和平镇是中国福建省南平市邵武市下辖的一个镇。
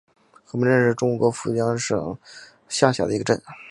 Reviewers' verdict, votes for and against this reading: rejected, 1, 2